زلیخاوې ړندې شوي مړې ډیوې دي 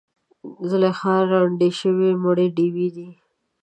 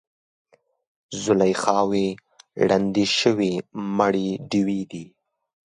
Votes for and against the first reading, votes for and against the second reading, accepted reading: 0, 2, 2, 0, second